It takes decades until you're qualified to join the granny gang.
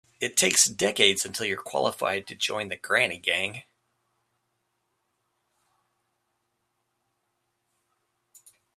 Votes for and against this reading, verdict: 2, 0, accepted